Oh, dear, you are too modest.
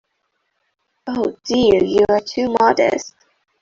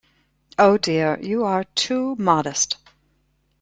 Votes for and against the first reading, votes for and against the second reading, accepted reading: 1, 2, 2, 0, second